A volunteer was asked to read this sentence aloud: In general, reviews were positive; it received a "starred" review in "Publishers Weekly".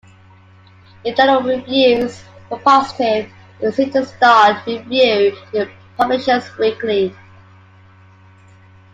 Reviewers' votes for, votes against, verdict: 2, 1, accepted